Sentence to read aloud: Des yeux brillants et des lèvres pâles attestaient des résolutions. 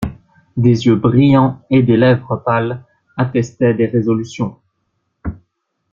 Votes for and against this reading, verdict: 2, 0, accepted